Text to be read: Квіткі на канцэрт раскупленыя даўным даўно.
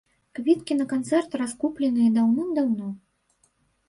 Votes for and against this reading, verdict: 0, 2, rejected